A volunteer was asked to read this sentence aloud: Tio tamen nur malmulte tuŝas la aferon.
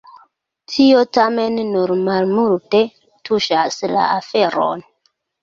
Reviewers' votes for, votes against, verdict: 2, 0, accepted